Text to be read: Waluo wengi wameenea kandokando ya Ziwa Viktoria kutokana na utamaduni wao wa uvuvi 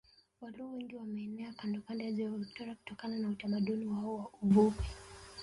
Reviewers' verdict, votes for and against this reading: accepted, 2, 1